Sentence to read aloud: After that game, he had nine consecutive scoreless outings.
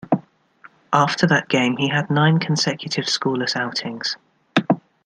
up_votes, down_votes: 2, 0